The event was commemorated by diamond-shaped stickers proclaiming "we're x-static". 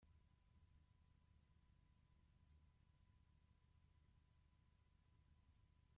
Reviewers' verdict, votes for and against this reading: rejected, 0, 2